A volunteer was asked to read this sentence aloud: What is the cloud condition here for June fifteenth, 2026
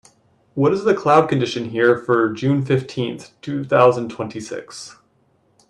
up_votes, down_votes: 0, 2